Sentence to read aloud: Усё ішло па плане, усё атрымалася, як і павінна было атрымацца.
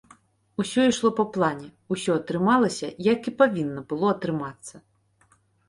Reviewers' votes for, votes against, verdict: 2, 0, accepted